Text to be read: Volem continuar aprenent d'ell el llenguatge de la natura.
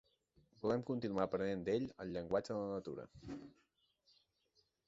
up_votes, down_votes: 2, 1